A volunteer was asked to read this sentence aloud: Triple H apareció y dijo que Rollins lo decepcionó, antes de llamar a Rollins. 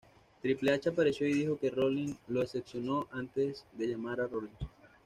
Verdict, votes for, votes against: rejected, 1, 2